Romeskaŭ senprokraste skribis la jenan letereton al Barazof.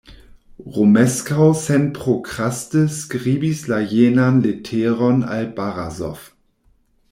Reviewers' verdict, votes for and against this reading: rejected, 1, 2